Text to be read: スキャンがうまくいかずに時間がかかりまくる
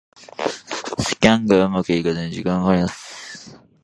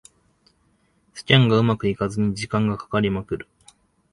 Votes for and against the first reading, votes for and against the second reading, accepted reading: 0, 2, 2, 0, second